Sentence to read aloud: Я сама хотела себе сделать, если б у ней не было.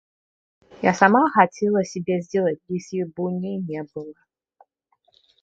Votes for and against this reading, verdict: 0, 2, rejected